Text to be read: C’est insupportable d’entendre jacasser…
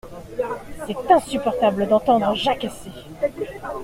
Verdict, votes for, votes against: accepted, 2, 0